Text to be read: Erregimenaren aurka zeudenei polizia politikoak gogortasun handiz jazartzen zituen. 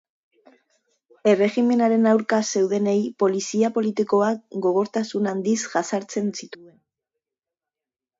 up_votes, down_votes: 2, 0